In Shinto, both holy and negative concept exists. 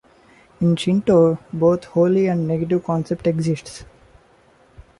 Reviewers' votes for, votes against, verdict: 2, 0, accepted